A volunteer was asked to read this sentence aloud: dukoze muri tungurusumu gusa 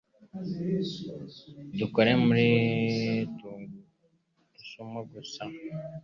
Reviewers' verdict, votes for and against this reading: rejected, 0, 2